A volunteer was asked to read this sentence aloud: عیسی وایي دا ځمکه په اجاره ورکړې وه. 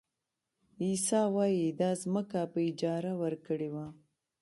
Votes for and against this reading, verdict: 2, 1, accepted